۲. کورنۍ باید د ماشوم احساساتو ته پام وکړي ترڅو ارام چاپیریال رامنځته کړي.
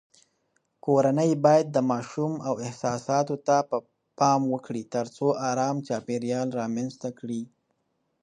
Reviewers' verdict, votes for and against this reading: rejected, 0, 2